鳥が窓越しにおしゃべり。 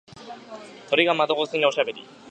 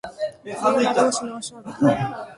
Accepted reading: first